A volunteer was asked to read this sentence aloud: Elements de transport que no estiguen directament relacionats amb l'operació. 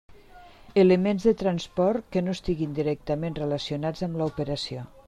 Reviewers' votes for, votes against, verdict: 0, 2, rejected